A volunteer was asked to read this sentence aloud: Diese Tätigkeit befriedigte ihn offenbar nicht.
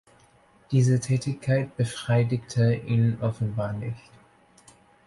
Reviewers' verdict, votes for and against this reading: rejected, 0, 2